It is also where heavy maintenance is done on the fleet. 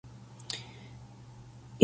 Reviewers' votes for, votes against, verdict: 0, 2, rejected